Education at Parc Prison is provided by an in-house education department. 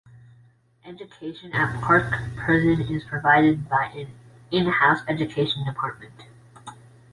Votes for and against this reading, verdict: 0, 2, rejected